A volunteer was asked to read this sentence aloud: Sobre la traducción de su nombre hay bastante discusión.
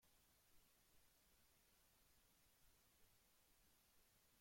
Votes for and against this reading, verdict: 0, 2, rejected